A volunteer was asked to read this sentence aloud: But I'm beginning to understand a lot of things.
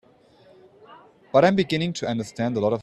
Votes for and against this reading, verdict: 2, 1, accepted